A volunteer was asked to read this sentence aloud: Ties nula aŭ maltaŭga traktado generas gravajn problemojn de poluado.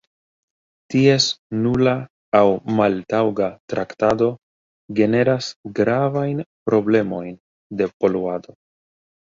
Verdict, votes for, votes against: accepted, 2, 0